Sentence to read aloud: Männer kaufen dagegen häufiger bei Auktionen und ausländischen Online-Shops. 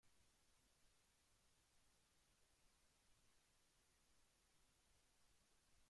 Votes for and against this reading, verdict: 0, 2, rejected